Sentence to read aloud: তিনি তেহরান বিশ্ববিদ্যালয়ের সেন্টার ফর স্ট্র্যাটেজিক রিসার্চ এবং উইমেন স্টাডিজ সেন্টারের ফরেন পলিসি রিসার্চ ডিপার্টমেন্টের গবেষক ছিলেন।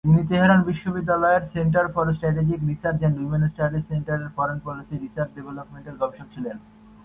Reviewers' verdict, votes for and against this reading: accepted, 2, 1